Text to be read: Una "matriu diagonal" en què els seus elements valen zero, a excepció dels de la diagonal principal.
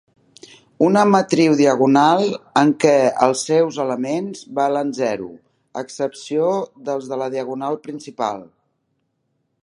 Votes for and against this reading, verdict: 2, 0, accepted